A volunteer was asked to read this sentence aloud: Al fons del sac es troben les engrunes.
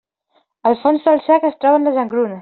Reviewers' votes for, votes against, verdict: 1, 2, rejected